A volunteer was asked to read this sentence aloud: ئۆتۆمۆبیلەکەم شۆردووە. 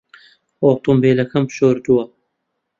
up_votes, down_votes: 0, 2